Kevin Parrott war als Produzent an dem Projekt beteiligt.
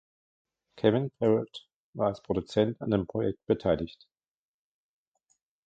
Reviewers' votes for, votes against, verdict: 2, 1, accepted